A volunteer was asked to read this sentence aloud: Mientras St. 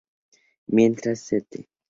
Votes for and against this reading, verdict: 2, 2, rejected